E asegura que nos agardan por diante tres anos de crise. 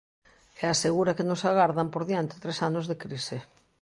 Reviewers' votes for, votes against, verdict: 2, 0, accepted